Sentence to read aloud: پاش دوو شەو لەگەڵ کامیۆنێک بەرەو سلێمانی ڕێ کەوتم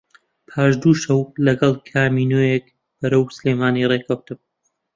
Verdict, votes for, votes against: rejected, 1, 2